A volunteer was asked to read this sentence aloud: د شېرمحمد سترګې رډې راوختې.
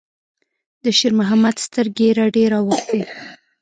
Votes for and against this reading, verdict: 1, 2, rejected